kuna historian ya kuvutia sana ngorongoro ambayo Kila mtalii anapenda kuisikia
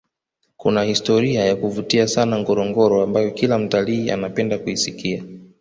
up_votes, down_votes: 2, 0